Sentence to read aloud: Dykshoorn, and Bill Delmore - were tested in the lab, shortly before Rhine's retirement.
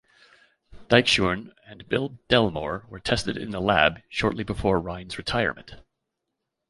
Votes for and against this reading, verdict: 0, 2, rejected